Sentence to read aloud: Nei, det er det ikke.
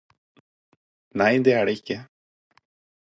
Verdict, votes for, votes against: accepted, 4, 0